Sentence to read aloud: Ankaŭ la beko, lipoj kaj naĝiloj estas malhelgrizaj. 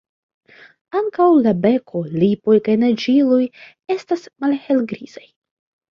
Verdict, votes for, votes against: accepted, 2, 1